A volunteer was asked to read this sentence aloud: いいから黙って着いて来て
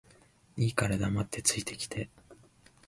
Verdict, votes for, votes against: rejected, 0, 2